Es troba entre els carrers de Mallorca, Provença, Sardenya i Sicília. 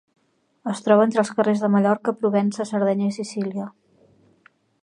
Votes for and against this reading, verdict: 2, 0, accepted